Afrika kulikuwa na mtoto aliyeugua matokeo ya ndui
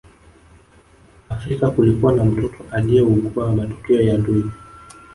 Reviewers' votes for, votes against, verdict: 1, 2, rejected